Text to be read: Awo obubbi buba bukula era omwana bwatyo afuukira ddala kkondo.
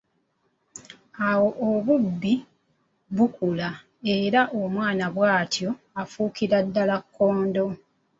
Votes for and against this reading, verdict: 2, 1, accepted